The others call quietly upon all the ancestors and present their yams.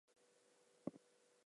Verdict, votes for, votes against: rejected, 0, 4